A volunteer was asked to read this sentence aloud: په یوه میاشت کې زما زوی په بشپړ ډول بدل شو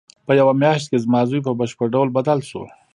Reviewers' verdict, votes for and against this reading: accepted, 2, 0